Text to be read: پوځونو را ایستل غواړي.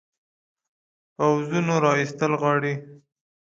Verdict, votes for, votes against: rejected, 0, 2